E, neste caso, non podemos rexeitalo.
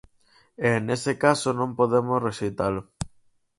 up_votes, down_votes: 2, 4